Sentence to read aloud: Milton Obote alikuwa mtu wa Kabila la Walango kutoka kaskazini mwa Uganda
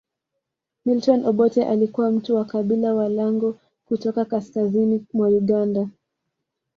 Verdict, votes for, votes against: rejected, 1, 2